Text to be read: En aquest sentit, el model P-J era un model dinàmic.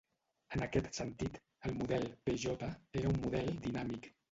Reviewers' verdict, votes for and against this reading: rejected, 0, 2